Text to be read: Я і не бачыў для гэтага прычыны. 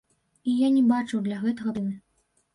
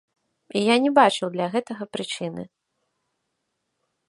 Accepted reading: second